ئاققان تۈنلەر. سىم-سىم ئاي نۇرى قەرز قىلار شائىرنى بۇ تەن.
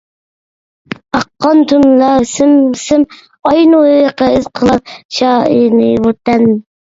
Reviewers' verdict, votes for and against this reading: rejected, 0, 2